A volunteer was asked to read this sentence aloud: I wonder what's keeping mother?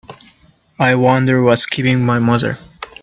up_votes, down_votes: 0, 2